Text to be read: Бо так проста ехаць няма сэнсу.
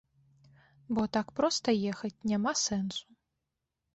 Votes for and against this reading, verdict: 2, 0, accepted